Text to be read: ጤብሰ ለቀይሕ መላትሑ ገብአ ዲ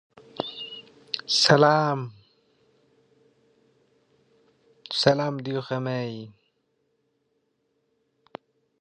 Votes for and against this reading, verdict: 0, 2, rejected